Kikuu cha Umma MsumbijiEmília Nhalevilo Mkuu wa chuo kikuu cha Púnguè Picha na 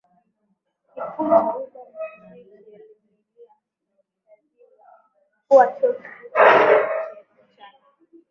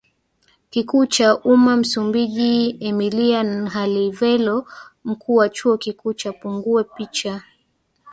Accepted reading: second